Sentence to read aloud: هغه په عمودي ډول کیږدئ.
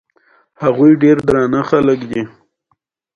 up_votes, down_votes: 2, 0